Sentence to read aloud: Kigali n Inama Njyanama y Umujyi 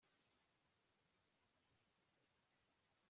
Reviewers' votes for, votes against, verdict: 0, 2, rejected